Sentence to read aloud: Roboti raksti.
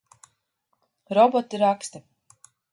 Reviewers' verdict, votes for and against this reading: rejected, 0, 2